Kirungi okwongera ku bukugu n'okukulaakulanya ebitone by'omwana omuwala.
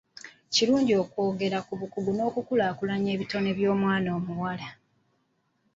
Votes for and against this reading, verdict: 0, 2, rejected